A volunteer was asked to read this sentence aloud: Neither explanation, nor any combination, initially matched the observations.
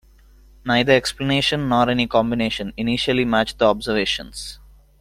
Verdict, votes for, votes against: accepted, 2, 0